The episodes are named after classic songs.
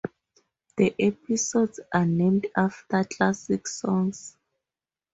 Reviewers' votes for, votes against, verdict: 0, 2, rejected